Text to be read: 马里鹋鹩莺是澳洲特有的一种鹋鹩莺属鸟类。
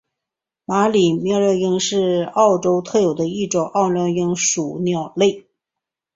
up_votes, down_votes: 0, 2